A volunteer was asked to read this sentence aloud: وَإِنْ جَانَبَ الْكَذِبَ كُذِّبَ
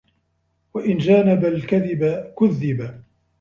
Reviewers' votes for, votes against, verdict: 2, 0, accepted